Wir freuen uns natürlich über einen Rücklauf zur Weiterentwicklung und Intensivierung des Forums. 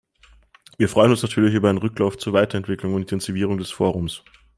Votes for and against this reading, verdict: 2, 0, accepted